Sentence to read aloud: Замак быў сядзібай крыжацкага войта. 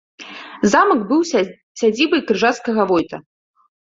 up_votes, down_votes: 1, 2